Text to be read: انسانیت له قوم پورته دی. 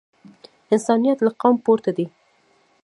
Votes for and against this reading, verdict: 0, 2, rejected